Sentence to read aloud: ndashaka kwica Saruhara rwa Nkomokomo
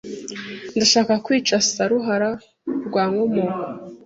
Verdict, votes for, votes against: rejected, 1, 2